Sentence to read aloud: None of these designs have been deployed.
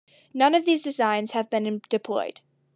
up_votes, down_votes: 0, 2